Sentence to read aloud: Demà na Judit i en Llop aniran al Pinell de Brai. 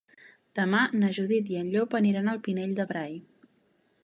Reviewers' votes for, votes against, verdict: 2, 0, accepted